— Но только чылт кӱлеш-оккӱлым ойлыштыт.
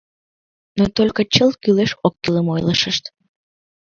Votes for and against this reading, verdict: 2, 3, rejected